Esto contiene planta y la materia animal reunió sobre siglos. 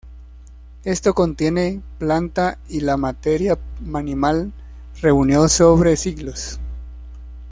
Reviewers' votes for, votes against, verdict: 0, 2, rejected